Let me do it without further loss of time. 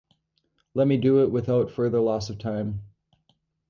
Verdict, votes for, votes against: accepted, 4, 0